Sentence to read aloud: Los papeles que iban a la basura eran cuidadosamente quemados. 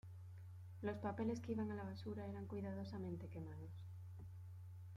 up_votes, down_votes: 2, 0